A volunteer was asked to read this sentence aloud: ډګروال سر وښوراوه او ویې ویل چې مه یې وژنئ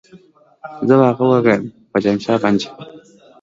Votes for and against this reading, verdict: 0, 2, rejected